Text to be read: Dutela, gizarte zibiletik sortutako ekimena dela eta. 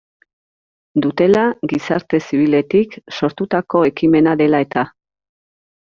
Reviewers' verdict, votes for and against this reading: accepted, 2, 0